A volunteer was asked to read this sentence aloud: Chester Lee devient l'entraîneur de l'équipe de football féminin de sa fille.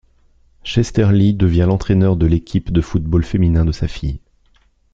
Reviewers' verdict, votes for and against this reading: accepted, 2, 0